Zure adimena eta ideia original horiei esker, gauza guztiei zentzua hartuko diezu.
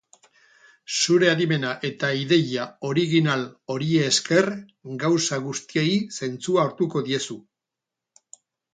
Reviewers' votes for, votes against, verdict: 0, 2, rejected